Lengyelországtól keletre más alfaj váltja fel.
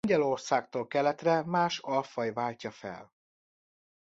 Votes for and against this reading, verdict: 0, 2, rejected